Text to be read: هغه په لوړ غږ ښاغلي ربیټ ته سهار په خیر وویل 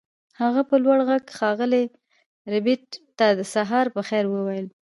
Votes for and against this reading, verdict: 0, 2, rejected